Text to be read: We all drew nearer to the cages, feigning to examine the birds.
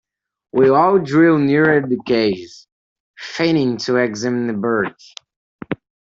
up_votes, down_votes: 0, 2